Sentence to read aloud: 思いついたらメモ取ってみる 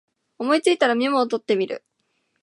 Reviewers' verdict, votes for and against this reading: rejected, 0, 2